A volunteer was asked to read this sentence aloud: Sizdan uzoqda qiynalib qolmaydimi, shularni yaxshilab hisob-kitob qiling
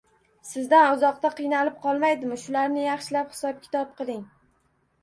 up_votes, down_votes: 2, 0